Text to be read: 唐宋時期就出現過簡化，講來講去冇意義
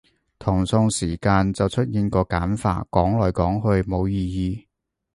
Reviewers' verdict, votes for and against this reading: rejected, 0, 2